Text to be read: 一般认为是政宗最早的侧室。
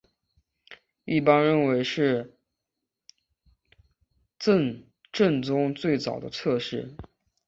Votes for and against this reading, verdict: 2, 3, rejected